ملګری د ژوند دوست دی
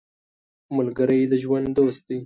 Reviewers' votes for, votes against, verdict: 2, 0, accepted